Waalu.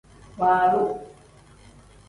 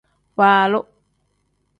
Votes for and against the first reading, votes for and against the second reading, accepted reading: 1, 2, 2, 0, second